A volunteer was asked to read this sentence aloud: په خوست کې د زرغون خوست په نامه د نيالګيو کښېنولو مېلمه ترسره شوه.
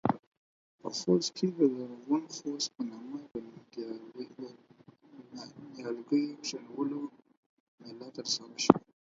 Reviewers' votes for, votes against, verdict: 2, 4, rejected